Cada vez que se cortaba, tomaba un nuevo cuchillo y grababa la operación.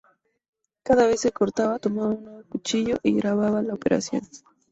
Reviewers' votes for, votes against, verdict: 2, 2, rejected